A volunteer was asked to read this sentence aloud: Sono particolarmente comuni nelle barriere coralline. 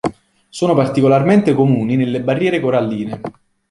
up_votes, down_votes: 2, 0